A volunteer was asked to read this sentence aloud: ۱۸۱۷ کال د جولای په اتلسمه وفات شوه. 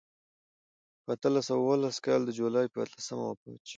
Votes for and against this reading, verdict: 0, 2, rejected